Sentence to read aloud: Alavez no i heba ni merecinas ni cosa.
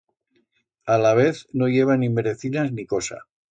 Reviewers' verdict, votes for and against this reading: accepted, 2, 0